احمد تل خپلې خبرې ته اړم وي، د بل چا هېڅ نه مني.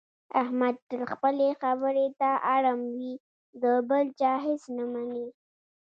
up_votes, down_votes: 2, 1